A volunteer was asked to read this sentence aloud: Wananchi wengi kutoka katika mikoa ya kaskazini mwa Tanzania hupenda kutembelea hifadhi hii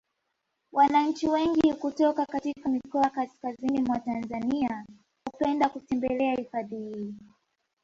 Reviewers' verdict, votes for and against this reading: rejected, 0, 2